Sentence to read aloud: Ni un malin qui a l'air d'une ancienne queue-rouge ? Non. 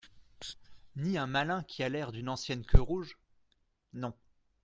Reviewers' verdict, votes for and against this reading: accepted, 2, 0